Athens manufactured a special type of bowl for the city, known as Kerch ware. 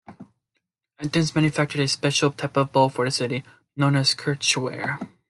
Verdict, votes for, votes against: accepted, 2, 1